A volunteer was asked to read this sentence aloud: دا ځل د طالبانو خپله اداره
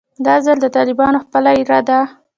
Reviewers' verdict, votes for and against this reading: rejected, 1, 2